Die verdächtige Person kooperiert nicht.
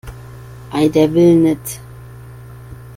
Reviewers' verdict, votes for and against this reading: rejected, 0, 2